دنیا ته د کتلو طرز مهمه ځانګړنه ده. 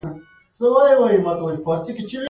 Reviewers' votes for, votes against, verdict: 1, 2, rejected